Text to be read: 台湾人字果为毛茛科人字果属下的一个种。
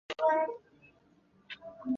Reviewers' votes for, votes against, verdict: 1, 5, rejected